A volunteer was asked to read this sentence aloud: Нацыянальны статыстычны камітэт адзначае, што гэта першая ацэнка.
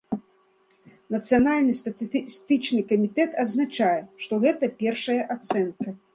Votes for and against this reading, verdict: 0, 2, rejected